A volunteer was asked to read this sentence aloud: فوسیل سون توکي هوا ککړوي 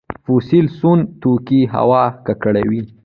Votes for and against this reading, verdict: 2, 0, accepted